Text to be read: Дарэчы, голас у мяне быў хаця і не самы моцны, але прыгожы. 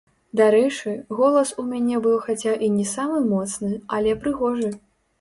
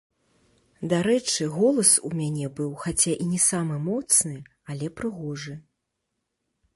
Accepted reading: second